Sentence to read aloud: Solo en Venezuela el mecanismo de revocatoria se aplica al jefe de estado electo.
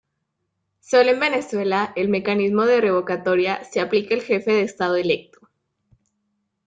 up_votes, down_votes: 2, 1